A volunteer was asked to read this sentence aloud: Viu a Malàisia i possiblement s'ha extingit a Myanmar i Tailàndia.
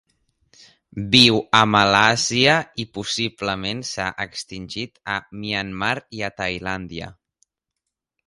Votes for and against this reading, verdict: 1, 3, rejected